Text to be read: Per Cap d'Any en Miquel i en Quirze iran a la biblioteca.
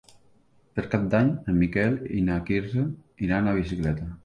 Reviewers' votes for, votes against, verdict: 0, 2, rejected